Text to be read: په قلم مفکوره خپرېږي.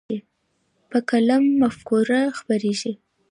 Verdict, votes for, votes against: accepted, 2, 1